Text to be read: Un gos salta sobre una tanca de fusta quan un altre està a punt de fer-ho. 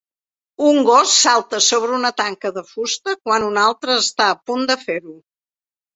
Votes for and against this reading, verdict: 3, 0, accepted